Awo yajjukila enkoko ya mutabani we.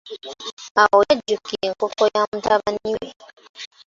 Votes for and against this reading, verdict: 2, 1, accepted